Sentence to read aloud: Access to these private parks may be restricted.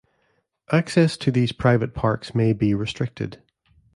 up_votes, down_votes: 2, 0